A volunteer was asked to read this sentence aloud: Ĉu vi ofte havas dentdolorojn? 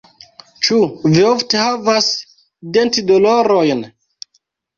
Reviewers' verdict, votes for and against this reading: rejected, 0, 2